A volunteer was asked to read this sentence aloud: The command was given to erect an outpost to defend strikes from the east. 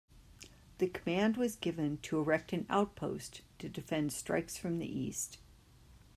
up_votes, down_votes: 2, 0